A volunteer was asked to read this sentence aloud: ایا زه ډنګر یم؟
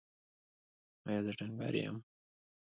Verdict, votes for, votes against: rejected, 0, 2